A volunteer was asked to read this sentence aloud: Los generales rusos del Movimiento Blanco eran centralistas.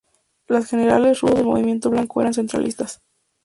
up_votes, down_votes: 0, 2